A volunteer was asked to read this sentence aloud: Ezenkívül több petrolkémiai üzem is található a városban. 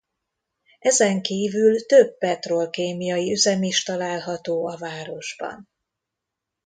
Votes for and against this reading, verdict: 2, 0, accepted